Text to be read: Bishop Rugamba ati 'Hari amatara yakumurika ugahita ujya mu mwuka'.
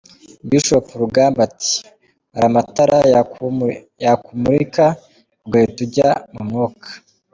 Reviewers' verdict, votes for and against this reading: rejected, 1, 2